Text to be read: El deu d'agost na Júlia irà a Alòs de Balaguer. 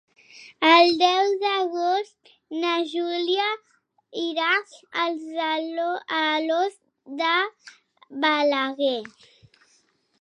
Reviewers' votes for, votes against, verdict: 1, 2, rejected